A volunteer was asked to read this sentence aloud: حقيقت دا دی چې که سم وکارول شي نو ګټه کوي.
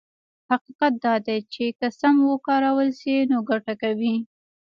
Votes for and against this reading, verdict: 1, 2, rejected